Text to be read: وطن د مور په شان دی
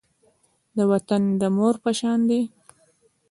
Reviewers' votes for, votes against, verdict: 0, 2, rejected